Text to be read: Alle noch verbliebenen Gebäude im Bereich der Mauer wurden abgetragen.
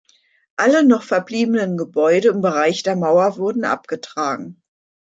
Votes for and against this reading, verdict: 2, 0, accepted